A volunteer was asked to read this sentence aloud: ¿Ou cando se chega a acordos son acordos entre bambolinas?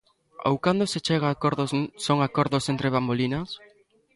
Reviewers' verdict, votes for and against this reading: rejected, 1, 2